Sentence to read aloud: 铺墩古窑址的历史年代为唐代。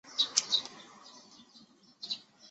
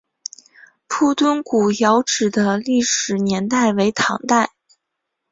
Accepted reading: second